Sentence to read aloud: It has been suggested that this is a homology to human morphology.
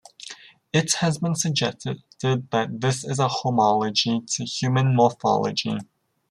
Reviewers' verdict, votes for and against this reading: rejected, 0, 2